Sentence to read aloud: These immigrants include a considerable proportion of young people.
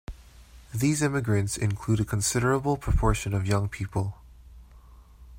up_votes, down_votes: 2, 0